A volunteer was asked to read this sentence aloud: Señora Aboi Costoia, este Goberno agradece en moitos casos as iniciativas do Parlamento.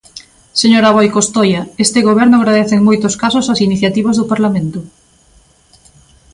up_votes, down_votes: 2, 0